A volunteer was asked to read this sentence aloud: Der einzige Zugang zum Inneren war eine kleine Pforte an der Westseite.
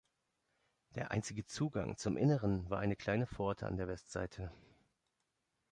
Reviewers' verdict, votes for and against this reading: accepted, 2, 0